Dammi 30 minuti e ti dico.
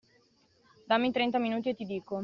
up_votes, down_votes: 0, 2